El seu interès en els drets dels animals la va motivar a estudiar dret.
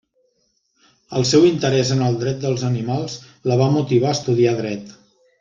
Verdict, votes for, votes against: rejected, 1, 2